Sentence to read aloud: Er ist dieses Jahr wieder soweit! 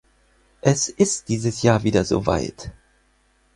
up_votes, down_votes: 2, 4